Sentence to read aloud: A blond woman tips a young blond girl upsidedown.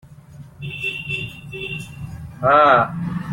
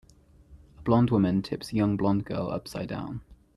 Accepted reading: second